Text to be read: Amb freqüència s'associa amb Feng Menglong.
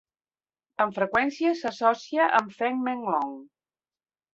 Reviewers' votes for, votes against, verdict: 1, 2, rejected